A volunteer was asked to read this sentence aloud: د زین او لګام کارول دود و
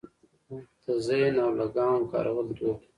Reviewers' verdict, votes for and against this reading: accepted, 2, 1